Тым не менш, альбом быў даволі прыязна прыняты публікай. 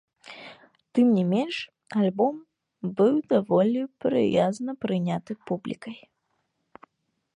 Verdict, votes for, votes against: rejected, 1, 2